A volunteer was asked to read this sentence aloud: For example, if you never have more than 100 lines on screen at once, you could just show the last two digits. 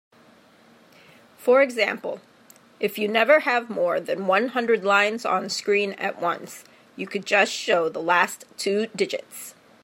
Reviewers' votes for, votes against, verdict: 0, 2, rejected